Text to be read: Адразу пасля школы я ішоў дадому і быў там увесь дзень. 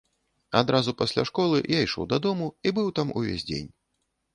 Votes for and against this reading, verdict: 2, 0, accepted